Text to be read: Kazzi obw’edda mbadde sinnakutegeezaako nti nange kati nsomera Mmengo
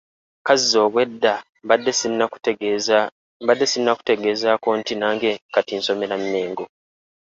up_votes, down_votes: 0, 3